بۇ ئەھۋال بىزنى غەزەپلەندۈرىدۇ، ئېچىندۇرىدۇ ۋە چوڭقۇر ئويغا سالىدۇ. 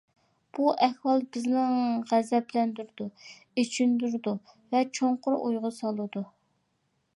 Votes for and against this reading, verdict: 2, 1, accepted